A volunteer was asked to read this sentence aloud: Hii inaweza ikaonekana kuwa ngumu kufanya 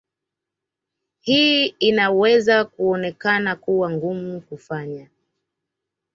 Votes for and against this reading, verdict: 1, 2, rejected